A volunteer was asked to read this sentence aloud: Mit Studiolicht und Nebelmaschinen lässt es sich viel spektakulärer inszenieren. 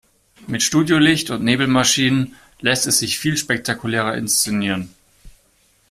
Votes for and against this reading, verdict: 2, 0, accepted